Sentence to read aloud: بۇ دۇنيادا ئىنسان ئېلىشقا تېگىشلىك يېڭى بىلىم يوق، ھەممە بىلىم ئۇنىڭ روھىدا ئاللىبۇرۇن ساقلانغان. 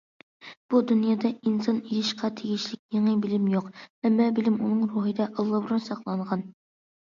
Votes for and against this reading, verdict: 2, 0, accepted